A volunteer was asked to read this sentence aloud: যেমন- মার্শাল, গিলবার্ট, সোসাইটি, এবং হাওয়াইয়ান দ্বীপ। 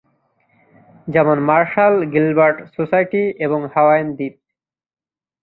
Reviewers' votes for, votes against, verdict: 2, 0, accepted